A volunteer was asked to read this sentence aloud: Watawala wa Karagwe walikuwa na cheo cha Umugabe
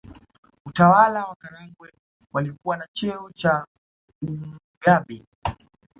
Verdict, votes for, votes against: rejected, 0, 2